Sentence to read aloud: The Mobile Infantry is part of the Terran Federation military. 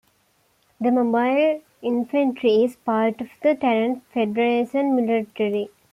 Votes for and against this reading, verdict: 2, 0, accepted